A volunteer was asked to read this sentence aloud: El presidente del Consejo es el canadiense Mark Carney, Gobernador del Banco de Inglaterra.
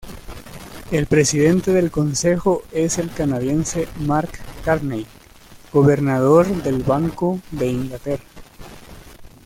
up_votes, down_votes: 2, 0